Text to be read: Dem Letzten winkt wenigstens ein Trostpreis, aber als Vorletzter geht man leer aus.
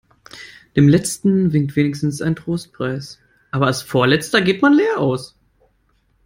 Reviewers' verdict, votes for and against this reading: accepted, 2, 0